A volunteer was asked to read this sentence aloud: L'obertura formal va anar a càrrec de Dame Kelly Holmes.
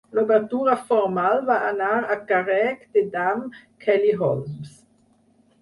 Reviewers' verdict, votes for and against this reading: rejected, 2, 4